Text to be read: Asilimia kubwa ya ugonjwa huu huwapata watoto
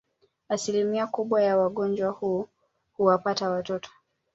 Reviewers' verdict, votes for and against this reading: accepted, 2, 1